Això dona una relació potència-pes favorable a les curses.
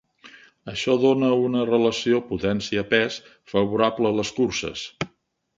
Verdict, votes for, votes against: accepted, 2, 0